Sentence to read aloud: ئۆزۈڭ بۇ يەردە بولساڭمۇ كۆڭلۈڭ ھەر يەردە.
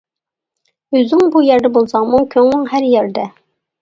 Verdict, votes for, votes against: accepted, 2, 0